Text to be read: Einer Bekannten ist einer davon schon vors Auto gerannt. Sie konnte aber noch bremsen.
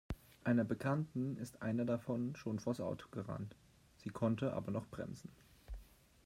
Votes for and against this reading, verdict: 2, 1, accepted